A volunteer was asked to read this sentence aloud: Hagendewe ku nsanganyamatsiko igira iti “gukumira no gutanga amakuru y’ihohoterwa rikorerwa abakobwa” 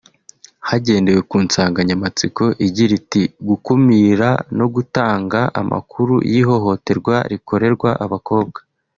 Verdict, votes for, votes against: accepted, 2, 0